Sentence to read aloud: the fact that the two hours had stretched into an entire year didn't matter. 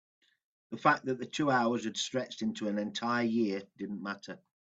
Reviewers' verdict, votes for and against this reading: accepted, 2, 0